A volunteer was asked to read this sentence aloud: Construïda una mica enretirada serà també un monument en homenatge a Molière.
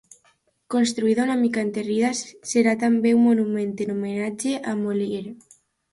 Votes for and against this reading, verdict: 0, 2, rejected